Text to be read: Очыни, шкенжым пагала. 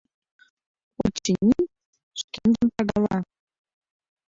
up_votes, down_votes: 1, 2